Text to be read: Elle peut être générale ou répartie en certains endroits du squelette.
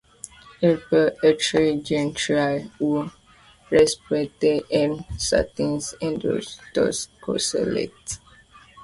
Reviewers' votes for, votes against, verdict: 1, 2, rejected